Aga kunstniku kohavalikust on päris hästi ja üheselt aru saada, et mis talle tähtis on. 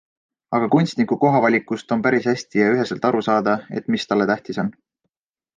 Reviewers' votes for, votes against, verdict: 2, 0, accepted